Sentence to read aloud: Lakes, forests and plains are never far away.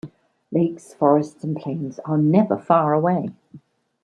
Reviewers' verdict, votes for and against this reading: rejected, 0, 2